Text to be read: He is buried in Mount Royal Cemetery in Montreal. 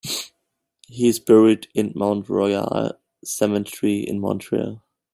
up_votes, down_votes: 1, 2